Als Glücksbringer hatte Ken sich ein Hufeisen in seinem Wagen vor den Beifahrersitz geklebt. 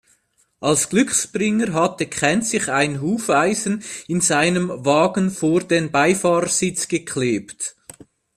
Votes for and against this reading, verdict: 2, 0, accepted